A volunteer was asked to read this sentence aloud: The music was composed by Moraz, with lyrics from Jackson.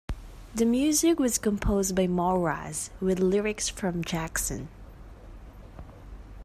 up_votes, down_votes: 2, 0